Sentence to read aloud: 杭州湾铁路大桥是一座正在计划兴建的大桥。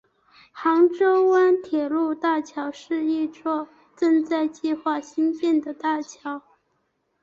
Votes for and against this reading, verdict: 2, 0, accepted